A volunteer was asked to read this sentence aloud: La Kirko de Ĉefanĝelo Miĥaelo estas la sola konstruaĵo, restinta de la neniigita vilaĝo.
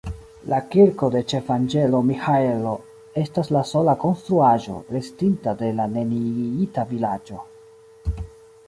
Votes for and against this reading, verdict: 1, 2, rejected